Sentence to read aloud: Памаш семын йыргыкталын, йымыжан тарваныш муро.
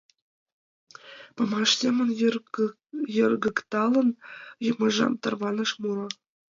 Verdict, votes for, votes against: rejected, 1, 2